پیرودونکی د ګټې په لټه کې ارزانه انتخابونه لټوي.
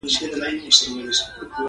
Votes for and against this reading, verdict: 2, 0, accepted